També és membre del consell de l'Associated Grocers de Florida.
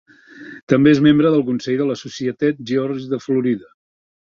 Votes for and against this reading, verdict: 1, 3, rejected